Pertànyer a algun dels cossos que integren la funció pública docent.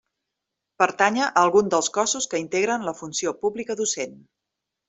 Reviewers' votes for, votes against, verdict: 2, 0, accepted